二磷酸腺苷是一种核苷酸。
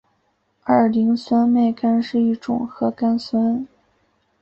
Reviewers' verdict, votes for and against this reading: accepted, 8, 1